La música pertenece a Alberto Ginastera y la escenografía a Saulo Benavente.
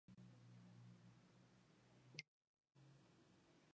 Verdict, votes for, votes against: rejected, 0, 2